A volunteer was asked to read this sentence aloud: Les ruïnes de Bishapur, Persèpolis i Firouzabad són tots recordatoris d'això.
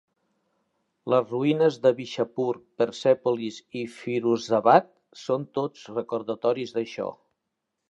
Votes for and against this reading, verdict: 3, 0, accepted